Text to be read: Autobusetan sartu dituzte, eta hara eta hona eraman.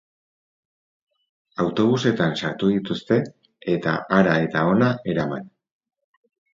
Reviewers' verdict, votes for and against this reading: accepted, 4, 0